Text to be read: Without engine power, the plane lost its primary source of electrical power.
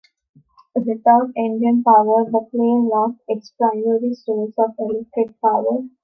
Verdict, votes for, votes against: rejected, 1, 2